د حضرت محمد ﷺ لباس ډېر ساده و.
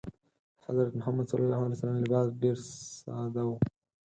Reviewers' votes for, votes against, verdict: 2, 4, rejected